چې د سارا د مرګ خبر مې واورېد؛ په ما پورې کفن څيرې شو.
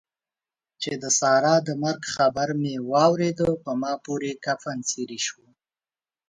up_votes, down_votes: 2, 0